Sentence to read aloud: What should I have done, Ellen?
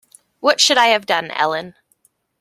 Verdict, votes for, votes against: accepted, 2, 0